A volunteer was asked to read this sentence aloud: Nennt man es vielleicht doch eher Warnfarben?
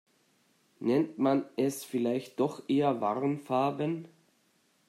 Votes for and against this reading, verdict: 2, 0, accepted